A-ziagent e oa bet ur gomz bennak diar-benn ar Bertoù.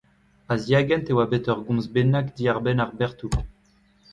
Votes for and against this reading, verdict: 2, 1, accepted